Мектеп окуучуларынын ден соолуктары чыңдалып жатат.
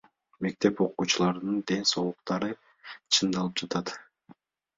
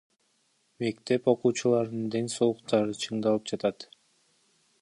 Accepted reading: first